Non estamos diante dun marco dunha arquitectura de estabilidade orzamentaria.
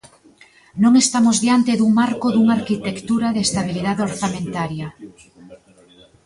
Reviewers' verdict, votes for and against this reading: rejected, 0, 2